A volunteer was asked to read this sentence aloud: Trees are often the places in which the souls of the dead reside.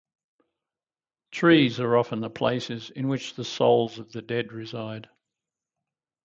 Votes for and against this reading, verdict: 2, 0, accepted